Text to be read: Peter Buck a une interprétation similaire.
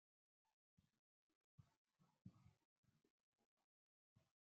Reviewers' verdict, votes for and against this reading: rejected, 0, 2